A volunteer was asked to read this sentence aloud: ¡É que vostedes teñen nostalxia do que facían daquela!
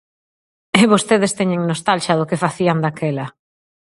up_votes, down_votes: 0, 4